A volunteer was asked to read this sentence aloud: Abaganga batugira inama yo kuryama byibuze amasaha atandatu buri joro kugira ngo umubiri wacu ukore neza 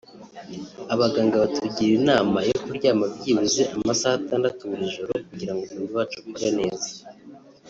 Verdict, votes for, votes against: rejected, 1, 2